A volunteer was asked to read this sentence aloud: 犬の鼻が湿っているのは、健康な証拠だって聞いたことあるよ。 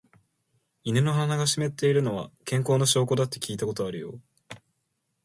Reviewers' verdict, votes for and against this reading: accepted, 2, 0